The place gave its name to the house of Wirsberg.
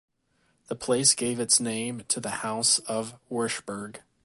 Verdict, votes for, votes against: rejected, 1, 2